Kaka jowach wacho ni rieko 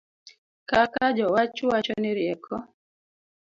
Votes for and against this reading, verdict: 2, 0, accepted